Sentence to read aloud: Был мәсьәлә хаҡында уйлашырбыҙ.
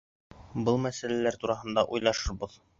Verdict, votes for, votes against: rejected, 0, 2